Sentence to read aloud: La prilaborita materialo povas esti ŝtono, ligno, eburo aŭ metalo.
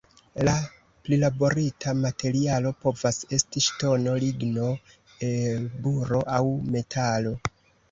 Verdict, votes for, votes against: rejected, 1, 2